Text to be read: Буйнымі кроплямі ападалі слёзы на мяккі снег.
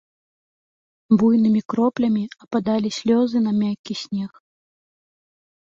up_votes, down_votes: 2, 0